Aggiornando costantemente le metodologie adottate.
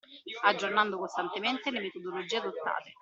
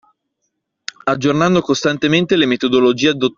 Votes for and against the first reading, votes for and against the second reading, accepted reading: 2, 0, 0, 2, first